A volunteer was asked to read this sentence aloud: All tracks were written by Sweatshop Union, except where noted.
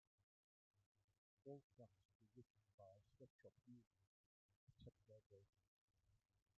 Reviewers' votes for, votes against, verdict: 0, 2, rejected